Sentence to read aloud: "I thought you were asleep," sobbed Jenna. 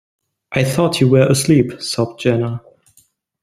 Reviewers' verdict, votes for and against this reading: accepted, 2, 0